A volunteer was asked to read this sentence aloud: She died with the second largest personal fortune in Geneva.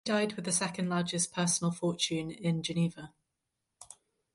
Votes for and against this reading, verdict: 2, 2, rejected